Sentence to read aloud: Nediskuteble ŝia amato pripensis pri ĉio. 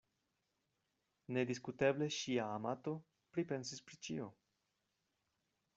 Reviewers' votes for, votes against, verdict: 0, 2, rejected